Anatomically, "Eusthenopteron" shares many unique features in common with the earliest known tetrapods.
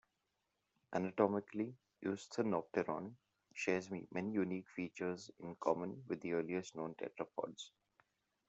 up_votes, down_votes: 1, 2